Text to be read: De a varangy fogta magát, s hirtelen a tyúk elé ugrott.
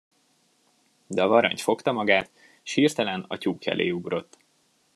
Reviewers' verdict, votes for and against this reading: accepted, 2, 0